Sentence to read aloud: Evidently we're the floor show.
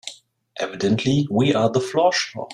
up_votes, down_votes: 1, 2